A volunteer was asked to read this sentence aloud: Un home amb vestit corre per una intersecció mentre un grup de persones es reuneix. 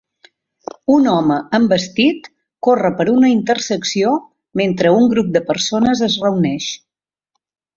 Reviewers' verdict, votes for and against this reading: accepted, 3, 0